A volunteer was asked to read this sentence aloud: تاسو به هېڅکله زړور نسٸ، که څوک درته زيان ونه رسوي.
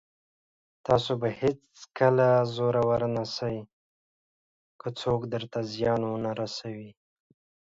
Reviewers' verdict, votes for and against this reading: rejected, 1, 2